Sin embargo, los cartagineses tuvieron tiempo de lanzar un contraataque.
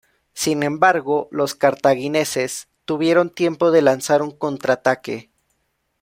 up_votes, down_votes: 1, 2